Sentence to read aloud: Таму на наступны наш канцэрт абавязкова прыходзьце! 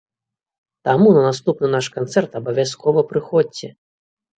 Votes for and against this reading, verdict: 2, 0, accepted